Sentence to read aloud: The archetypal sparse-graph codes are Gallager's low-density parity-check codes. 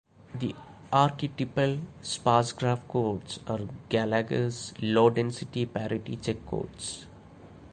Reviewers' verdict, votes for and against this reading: accepted, 2, 0